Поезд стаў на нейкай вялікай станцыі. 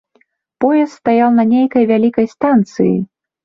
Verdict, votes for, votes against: rejected, 1, 2